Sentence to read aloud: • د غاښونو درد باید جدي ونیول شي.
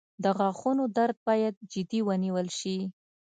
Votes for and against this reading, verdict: 2, 0, accepted